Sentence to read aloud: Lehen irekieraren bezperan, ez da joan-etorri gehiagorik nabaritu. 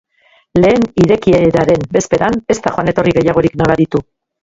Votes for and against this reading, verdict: 0, 2, rejected